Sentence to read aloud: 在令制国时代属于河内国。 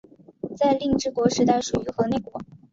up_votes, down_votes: 2, 0